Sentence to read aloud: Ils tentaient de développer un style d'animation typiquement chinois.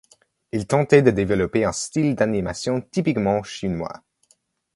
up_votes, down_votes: 2, 0